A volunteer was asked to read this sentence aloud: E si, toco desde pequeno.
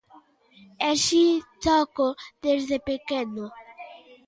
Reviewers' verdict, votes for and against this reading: accepted, 2, 0